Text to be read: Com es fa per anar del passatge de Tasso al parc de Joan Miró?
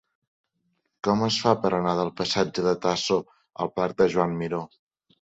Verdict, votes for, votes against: accepted, 2, 0